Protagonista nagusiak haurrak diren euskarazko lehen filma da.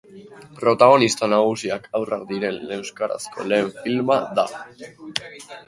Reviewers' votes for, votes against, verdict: 5, 1, accepted